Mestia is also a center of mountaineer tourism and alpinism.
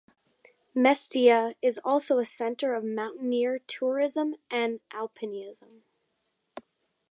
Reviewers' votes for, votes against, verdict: 1, 2, rejected